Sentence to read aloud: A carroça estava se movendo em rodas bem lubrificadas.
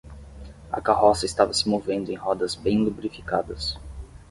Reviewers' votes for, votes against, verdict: 10, 0, accepted